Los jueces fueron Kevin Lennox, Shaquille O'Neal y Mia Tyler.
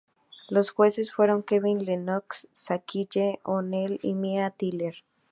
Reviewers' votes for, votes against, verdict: 4, 0, accepted